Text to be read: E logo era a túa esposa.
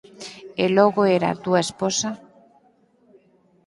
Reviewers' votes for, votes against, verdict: 4, 0, accepted